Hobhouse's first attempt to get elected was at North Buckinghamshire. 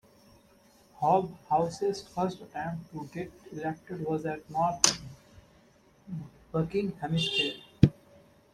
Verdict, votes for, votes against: rejected, 0, 2